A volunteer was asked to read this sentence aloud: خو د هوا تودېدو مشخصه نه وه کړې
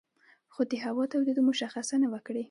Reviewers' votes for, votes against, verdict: 2, 0, accepted